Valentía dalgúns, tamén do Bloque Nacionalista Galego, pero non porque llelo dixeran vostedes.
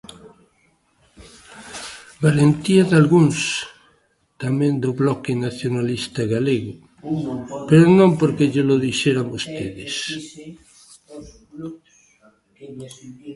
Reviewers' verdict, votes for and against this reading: rejected, 1, 2